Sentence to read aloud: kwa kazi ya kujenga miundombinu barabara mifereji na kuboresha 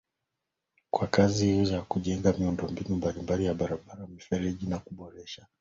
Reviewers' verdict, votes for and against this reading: accepted, 2, 0